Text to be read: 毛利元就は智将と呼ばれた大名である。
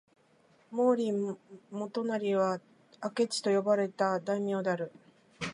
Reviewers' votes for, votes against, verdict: 2, 6, rejected